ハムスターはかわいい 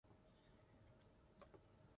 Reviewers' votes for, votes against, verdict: 0, 3, rejected